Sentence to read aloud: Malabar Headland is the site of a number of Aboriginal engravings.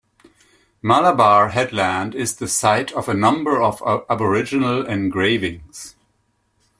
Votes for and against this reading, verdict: 1, 2, rejected